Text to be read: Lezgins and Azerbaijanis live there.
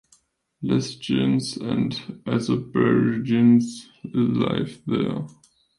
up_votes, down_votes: 0, 2